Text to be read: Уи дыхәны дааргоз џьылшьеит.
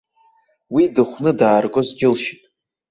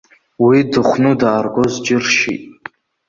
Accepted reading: first